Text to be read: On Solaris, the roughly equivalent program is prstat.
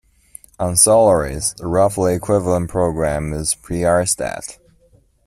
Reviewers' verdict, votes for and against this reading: rejected, 1, 2